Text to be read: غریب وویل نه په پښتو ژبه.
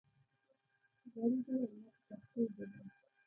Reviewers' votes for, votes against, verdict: 1, 2, rejected